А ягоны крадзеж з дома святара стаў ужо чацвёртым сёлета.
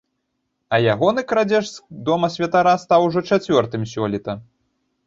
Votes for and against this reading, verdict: 1, 2, rejected